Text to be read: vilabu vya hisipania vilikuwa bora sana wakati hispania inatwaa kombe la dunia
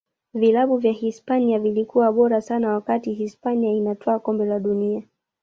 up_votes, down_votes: 0, 2